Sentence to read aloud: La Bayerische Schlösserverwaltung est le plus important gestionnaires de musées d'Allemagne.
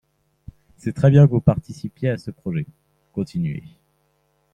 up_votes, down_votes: 1, 2